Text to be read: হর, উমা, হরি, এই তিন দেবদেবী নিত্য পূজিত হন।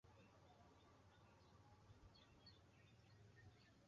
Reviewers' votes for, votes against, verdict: 0, 2, rejected